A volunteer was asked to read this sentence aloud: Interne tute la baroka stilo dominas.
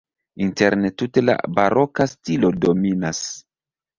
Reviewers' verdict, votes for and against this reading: accepted, 2, 0